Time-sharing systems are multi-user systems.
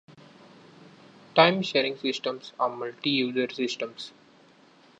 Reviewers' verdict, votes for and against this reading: accepted, 2, 0